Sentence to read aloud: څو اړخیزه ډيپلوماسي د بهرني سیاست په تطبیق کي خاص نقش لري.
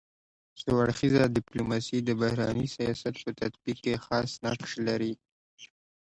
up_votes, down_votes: 0, 2